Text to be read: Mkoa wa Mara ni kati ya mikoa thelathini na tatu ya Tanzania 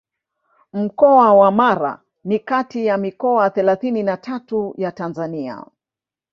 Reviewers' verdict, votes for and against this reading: accepted, 2, 0